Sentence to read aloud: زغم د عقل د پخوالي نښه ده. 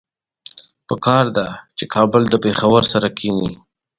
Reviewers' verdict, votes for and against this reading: rejected, 1, 2